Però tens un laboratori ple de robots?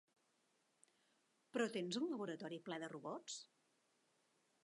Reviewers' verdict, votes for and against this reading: rejected, 1, 2